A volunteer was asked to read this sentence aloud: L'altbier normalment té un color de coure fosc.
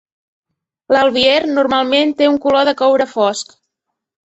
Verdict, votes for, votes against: accepted, 2, 0